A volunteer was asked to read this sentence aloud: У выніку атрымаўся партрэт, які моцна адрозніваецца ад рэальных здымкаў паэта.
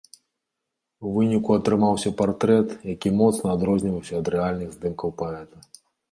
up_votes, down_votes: 1, 2